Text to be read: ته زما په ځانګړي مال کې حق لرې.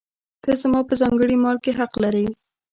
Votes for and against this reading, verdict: 1, 2, rejected